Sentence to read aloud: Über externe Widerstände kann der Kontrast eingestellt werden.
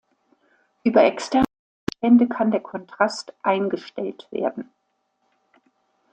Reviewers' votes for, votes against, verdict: 1, 2, rejected